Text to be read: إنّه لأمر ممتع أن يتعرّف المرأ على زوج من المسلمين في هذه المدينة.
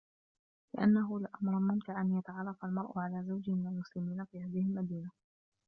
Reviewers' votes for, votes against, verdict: 0, 2, rejected